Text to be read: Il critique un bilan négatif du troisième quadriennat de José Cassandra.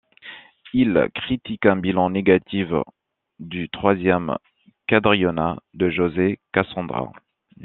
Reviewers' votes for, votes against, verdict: 1, 2, rejected